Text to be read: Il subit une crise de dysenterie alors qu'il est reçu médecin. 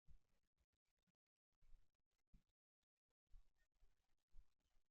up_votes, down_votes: 0, 2